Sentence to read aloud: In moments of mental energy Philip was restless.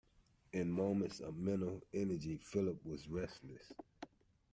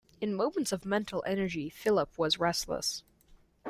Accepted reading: second